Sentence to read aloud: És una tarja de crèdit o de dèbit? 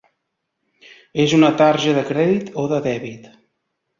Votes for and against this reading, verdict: 3, 0, accepted